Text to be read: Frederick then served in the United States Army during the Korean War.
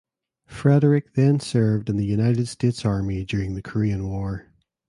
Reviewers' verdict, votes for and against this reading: accepted, 2, 0